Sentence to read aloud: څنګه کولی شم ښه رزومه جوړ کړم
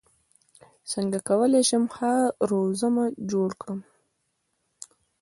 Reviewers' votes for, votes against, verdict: 1, 2, rejected